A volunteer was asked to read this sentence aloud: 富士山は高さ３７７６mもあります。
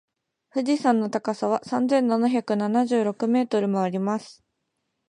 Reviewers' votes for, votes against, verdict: 0, 2, rejected